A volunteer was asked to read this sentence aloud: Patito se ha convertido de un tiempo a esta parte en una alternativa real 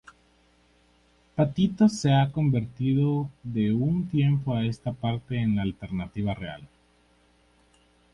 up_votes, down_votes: 2, 2